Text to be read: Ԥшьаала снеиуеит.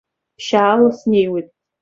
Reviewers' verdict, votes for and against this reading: accepted, 3, 0